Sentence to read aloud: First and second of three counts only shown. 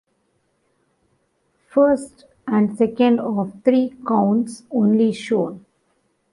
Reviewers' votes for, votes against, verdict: 2, 0, accepted